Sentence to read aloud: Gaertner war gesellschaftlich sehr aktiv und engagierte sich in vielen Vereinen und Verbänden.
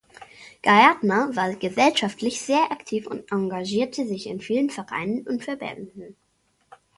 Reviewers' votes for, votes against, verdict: 1, 2, rejected